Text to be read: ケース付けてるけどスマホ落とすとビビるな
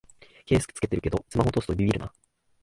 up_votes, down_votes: 1, 2